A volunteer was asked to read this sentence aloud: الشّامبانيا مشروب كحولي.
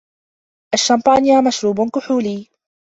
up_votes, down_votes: 2, 0